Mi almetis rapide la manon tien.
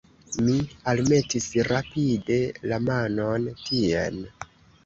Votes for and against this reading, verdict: 1, 2, rejected